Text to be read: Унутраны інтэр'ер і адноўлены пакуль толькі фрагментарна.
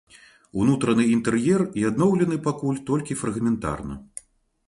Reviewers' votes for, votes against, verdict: 2, 0, accepted